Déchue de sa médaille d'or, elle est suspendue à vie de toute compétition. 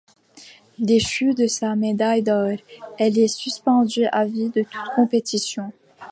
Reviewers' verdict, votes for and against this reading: rejected, 1, 2